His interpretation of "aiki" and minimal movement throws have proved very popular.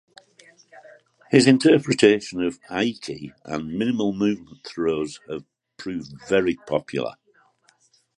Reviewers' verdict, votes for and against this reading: accepted, 2, 0